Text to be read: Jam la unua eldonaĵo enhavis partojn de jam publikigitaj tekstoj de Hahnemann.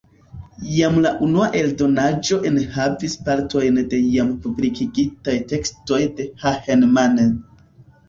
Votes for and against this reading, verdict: 1, 2, rejected